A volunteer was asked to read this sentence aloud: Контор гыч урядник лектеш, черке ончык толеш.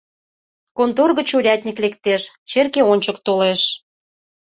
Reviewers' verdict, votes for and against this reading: accepted, 2, 0